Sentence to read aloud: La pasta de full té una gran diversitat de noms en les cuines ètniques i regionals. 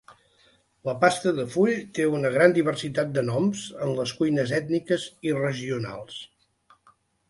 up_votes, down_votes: 2, 0